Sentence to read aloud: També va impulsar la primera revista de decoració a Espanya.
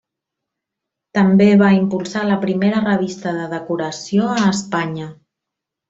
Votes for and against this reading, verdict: 1, 2, rejected